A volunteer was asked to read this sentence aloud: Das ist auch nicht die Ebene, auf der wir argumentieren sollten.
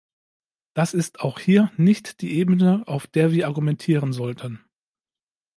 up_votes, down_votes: 0, 2